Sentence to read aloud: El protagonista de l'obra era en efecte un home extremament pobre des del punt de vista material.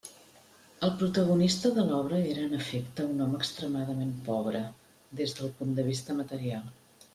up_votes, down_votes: 2, 1